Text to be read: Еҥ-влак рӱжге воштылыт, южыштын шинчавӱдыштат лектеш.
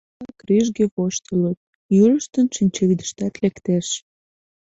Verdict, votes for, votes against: rejected, 1, 2